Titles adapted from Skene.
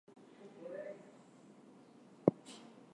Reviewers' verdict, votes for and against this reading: rejected, 0, 4